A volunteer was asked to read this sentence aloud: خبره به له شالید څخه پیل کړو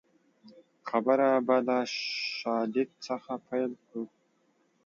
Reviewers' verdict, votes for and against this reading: accepted, 5, 0